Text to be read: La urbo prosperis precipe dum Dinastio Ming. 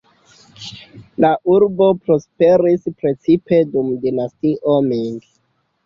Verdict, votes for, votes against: accepted, 2, 0